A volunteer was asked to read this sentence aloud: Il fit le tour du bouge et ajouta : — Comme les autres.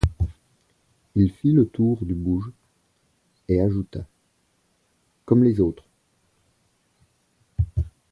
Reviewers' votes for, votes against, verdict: 1, 2, rejected